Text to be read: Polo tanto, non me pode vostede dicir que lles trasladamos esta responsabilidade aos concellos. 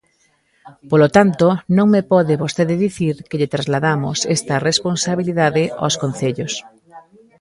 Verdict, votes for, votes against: rejected, 0, 2